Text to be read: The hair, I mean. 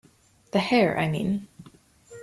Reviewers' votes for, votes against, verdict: 2, 0, accepted